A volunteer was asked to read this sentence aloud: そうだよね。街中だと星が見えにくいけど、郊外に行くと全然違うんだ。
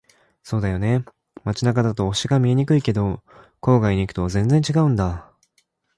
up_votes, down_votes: 2, 0